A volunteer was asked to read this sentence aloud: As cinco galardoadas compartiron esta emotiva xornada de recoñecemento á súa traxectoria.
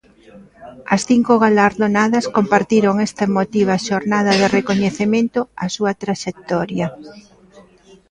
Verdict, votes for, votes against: rejected, 0, 2